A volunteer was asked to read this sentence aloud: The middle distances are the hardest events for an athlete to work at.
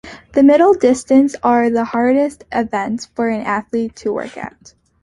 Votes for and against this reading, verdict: 0, 2, rejected